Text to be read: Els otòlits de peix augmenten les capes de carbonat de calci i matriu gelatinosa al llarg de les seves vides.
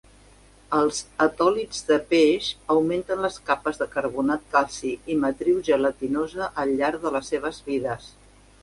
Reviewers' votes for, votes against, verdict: 0, 2, rejected